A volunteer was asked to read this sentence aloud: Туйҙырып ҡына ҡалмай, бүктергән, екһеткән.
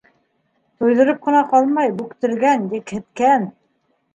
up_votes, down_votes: 2, 0